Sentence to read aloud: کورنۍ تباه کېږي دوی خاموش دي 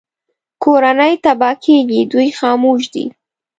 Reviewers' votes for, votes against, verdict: 2, 0, accepted